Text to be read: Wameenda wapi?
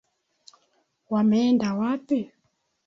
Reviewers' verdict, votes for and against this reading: accepted, 2, 0